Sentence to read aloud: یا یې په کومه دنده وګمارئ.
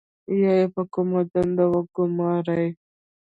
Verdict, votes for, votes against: accepted, 2, 1